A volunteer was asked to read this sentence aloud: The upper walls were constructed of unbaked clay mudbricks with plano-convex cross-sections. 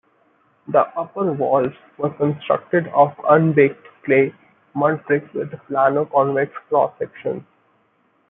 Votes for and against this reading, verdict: 2, 0, accepted